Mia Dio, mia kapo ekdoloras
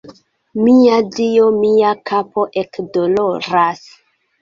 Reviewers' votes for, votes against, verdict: 2, 0, accepted